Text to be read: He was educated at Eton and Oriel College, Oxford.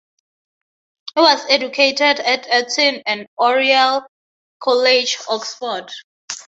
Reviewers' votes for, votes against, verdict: 6, 0, accepted